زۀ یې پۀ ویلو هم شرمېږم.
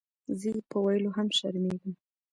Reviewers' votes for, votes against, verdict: 1, 2, rejected